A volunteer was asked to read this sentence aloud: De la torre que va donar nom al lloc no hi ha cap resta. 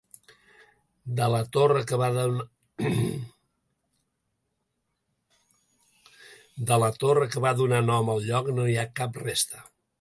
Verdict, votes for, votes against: rejected, 0, 2